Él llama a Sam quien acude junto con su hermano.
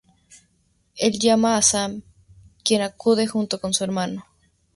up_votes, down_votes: 2, 0